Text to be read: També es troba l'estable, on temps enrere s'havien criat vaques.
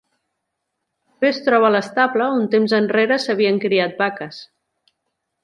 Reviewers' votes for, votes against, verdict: 0, 2, rejected